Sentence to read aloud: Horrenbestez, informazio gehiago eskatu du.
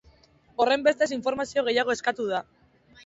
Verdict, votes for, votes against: accepted, 2, 0